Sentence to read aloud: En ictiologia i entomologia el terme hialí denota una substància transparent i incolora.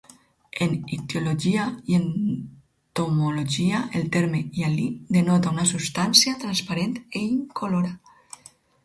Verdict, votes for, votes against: rejected, 0, 4